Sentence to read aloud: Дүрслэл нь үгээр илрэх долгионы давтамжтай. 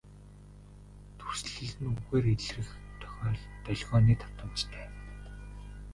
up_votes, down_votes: 0, 2